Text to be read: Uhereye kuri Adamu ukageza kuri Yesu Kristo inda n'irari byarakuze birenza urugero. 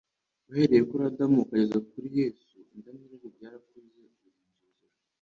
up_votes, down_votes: 1, 2